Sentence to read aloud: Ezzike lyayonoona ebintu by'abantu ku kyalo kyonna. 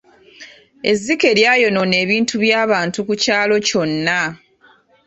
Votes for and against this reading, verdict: 2, 0, accepted